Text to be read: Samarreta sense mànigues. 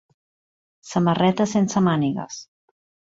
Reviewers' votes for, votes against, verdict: 3, 0, accepted